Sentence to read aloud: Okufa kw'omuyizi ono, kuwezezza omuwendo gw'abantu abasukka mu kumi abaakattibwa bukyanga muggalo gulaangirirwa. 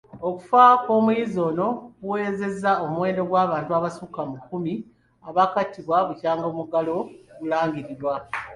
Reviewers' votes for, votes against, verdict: 1, 2, rejected